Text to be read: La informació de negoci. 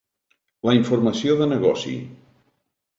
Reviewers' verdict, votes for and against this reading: accepted, 2, 0